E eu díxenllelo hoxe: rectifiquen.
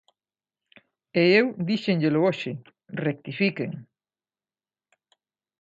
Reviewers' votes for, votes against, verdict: 2, 0, accepted